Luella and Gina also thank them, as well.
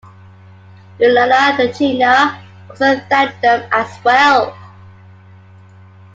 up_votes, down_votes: 1, 2